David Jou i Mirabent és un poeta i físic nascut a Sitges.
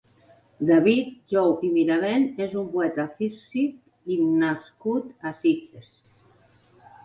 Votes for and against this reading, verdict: 0, 2, rejected